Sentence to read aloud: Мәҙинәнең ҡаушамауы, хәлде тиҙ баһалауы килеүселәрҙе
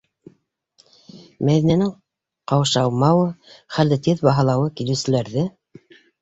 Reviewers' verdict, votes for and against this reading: rejected, 0, 2